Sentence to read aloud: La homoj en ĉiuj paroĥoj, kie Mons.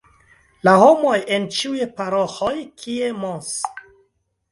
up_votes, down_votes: 2, 0